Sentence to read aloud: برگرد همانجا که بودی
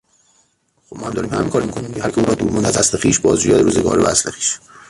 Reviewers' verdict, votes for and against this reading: rejected, 0, 2